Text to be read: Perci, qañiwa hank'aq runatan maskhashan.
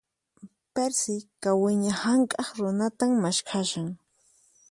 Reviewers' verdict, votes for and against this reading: rejected, 0, 4